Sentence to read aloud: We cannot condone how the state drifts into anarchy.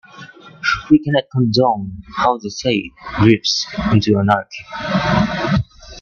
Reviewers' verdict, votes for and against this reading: rejected, 1, 2